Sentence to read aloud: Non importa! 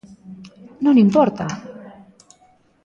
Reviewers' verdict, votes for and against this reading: rejected, 0, 2